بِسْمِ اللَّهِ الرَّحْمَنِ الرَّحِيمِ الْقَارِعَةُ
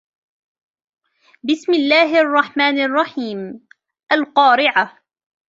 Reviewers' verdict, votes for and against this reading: rejected, 1, 2